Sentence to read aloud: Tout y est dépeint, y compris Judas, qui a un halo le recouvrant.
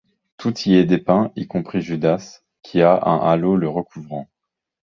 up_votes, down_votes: 0, 2